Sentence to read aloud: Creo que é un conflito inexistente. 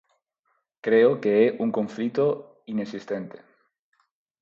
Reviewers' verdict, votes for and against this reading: accepted, 4, 0